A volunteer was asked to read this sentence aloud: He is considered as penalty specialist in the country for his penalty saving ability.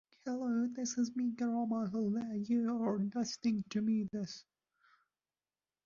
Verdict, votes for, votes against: rejected, 0, 2